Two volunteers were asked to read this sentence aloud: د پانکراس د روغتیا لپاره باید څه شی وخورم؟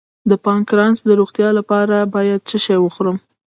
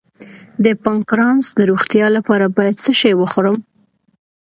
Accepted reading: second